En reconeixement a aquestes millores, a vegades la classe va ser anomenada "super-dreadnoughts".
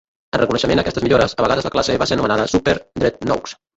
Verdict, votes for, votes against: rejected, 0, 2